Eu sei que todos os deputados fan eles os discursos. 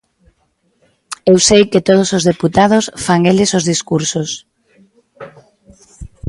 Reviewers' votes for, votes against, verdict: 2, 0, accepted